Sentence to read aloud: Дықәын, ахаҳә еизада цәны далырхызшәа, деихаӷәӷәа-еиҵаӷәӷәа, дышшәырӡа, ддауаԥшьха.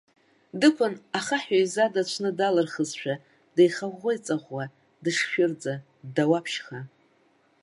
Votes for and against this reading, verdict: 1, 2, rejected